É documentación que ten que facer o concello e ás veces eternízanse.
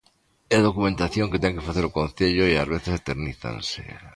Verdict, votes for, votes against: accepted, 2, 0